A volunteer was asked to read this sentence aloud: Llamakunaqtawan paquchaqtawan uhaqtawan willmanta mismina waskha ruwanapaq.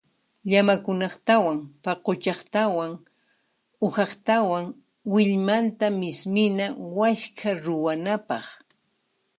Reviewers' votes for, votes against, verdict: 2, 0, accepted